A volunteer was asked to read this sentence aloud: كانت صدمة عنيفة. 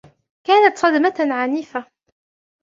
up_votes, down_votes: 2, 0